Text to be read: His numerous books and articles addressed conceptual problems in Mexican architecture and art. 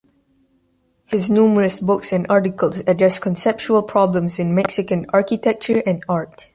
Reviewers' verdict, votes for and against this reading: accepted, 2, 0